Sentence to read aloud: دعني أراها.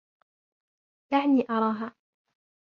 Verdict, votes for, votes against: accepted, 2, 1